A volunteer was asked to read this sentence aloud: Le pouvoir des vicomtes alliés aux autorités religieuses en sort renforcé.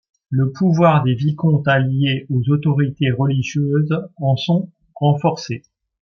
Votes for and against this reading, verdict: 1, 2, rejected